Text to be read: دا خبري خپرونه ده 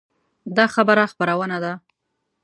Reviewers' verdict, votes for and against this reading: rejected, 1, 2